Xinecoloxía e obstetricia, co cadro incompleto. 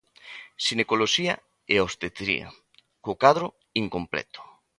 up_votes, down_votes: 0, 2